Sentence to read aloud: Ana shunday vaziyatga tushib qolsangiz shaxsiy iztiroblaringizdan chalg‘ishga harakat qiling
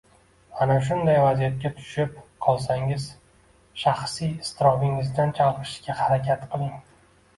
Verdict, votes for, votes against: rejected, 1, 2